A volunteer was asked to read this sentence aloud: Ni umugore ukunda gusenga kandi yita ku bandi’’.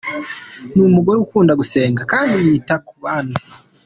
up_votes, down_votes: 2, 1